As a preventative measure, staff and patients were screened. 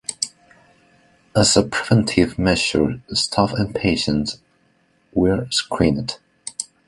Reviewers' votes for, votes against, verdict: 1, 2, rejected